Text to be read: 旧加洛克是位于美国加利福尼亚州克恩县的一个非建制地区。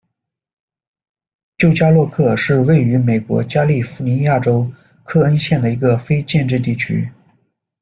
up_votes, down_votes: 2, 0